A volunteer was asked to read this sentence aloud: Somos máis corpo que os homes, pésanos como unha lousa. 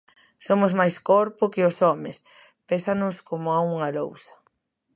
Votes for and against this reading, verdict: 0, 2, rejected